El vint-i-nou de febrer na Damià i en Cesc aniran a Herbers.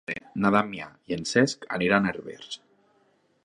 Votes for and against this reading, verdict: 0, 3, rejected